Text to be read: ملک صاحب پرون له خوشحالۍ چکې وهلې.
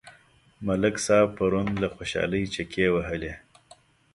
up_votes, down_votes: 6, 0